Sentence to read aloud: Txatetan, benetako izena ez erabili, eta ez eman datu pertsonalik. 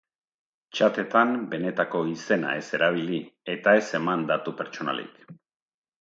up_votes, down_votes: 2, 0